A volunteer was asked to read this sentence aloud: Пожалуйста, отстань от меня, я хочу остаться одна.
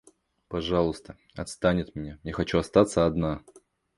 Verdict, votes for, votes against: rejected, 0, 2